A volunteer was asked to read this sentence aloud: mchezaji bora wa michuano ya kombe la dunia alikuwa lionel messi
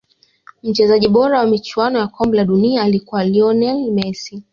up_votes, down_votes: 2, 0